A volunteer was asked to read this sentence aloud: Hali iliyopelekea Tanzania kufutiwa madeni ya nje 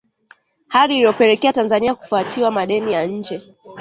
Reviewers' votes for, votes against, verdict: 1, 2, rejected